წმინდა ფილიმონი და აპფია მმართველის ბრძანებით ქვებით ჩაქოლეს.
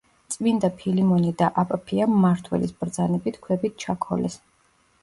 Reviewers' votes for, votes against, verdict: 0, 2, rejected